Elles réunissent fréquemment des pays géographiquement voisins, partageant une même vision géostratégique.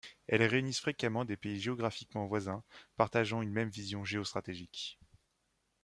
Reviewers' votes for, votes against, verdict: 2, 0, accepted